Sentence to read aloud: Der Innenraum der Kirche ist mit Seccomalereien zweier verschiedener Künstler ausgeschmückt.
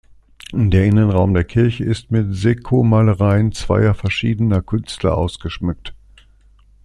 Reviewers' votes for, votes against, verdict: 2, 0, accepted